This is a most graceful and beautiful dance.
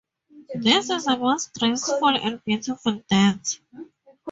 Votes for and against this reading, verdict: 0, 2, rejected